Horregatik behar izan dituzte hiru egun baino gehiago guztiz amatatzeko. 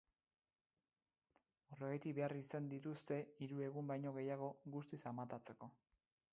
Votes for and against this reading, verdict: 2, 0, accepted